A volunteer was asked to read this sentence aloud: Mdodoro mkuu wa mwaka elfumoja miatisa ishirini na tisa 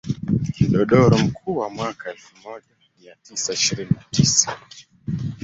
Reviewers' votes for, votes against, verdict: 1, 2, rejected